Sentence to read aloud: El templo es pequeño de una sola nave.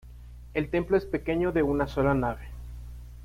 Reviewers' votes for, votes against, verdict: 2, 0, accepted